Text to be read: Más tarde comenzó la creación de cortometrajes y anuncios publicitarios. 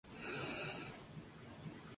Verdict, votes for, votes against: rejected, 0, 2